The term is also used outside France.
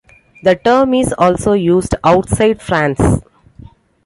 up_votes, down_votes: 2, 0